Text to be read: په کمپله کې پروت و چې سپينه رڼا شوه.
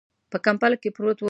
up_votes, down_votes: 1, 2